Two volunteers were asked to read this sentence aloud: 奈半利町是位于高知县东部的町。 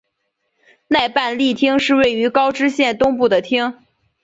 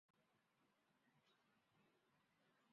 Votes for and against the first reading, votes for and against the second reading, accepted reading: 3, 1, 1, 2, first